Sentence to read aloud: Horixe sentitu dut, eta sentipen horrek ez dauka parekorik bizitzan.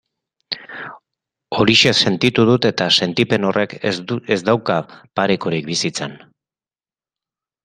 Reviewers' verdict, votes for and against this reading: accepted, 4, 2